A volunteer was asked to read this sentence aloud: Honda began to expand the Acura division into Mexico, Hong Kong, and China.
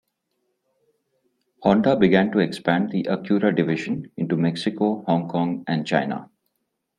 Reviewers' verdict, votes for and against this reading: accepted, 2, 0